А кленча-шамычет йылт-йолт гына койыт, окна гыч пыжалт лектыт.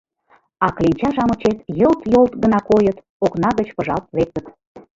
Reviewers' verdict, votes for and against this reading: accepted, 2, 0